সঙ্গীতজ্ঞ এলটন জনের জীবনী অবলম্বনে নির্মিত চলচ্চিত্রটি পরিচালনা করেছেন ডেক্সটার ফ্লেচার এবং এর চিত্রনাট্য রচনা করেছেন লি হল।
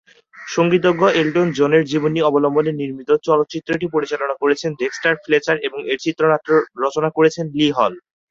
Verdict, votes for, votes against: accepted, 2, 0